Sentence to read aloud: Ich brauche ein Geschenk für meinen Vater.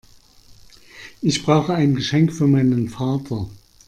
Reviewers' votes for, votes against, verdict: 2, 0, accepted